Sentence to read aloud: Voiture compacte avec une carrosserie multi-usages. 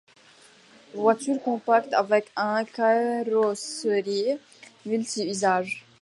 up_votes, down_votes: 2, 1